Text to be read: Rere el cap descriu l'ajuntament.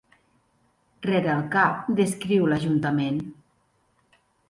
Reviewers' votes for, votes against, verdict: 2, 0, accepted